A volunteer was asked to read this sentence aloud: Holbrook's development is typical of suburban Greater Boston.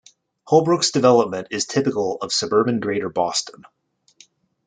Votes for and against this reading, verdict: 2, 0, accepted